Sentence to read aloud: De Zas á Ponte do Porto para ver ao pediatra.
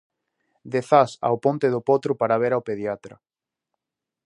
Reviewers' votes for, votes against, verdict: 0, 2, rejected